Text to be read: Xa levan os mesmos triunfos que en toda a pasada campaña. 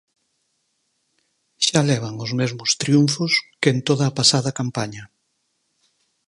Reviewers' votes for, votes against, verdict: 4, 0, accepted